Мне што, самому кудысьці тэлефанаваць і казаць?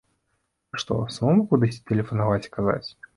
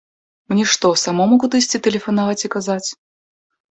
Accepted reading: second